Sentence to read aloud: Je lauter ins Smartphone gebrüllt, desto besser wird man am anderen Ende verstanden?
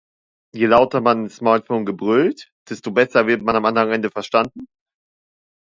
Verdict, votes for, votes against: rejected, 1, 2